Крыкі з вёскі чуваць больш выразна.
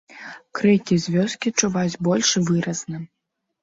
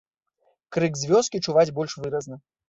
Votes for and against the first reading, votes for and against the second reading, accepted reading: 2, 1, 0, 2, first